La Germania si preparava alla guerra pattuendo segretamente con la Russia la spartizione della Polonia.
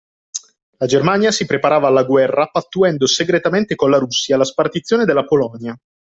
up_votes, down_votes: 2, 0